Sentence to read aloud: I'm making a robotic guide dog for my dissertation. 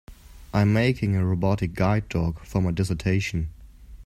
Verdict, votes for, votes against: accepted, 2, 0